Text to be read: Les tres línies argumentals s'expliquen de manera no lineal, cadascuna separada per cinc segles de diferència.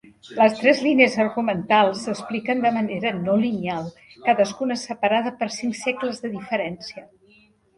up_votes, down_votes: 3, 0